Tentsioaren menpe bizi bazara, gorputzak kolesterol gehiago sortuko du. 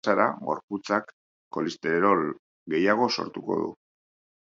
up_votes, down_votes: 0, 2